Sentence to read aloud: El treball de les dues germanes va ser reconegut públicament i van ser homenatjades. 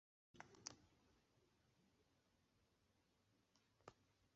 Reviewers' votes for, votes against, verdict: 0, 6, rejected